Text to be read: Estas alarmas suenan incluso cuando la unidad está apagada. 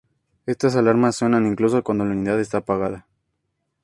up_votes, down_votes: 2, 0